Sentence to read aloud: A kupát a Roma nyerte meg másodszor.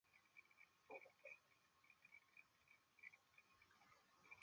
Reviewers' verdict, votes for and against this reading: rejected, 0, 2